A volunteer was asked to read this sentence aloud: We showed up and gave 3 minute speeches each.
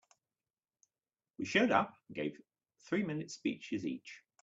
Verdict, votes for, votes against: rejected, 0, 2